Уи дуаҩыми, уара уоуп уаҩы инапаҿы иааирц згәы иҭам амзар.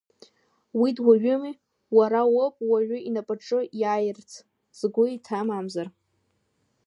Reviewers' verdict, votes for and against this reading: accepted, 2, 0